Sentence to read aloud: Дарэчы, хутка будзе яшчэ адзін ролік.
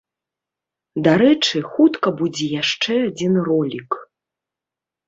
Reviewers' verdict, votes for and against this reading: rejected, 1, 2